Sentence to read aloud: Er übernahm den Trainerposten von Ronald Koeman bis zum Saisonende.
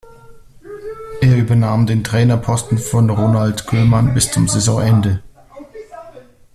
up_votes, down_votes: 1, 2